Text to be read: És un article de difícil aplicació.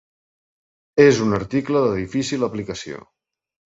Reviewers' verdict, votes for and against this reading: accepted, 3, 0